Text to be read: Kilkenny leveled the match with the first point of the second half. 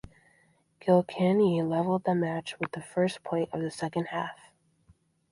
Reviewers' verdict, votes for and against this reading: accepted, 2, 0